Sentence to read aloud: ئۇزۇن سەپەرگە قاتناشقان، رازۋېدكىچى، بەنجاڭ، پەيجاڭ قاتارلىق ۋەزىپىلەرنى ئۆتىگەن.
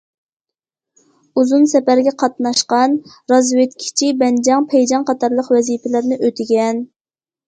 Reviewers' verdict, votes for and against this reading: accepted, 2, 0